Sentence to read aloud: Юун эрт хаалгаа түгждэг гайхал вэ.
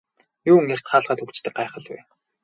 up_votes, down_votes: 6, 0